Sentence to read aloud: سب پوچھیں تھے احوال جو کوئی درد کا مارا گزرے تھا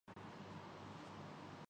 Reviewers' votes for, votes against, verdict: 1, 5, rejected